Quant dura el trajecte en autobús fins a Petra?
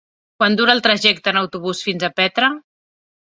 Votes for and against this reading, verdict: 4, 0, accepted